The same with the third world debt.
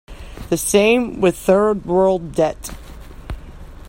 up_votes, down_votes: 0, 2